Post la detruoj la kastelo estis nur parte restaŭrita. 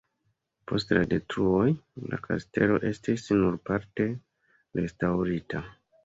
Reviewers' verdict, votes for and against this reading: accepted, 2, 0